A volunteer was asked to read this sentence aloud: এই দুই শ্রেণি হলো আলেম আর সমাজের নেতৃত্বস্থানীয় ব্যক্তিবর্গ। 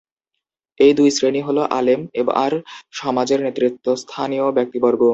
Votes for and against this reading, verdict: 1, 2, rejected